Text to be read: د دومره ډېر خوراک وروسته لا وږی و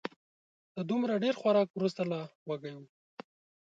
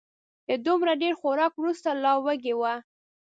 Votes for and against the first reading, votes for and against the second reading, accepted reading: 2, 0, 0, 2, first